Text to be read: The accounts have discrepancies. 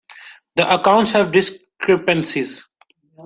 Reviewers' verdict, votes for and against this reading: rejected, 0, 2